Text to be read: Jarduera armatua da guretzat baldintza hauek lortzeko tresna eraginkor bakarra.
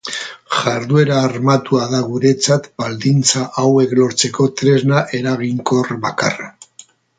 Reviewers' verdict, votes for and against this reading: accepted, 2, 0